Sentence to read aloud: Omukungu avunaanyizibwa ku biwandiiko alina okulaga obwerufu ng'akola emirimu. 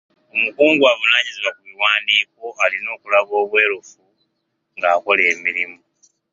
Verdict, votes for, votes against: accepted, 2, 0